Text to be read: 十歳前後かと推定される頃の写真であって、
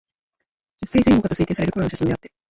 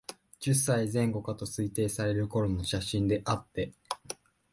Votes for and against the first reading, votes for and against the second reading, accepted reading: 2, 6, 2, 0, second